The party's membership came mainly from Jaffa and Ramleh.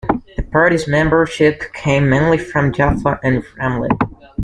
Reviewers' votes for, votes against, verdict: 2, 1, accepted